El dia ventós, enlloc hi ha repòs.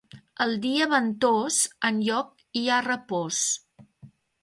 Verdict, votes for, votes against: accepted, 2, 0